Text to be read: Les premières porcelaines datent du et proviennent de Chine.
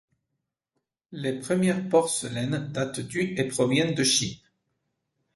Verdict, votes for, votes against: accepted, 2, 0